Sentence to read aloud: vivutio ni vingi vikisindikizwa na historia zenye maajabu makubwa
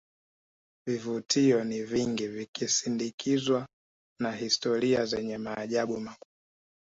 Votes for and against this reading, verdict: 1, 2, rejected